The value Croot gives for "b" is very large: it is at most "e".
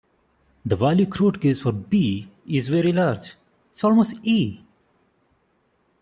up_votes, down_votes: 1, 2